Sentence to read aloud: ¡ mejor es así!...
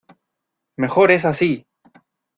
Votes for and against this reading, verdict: 2, 0, accepted